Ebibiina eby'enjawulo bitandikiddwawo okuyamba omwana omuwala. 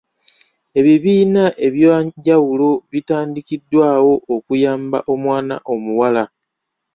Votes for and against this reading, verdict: 0, 2, rejected